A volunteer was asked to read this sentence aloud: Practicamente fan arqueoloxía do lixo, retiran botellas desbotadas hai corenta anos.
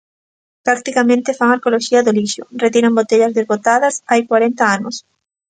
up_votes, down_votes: 1, 2